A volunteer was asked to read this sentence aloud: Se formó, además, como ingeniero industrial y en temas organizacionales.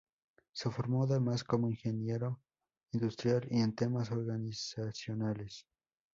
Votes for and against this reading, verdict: 0, 2, rejected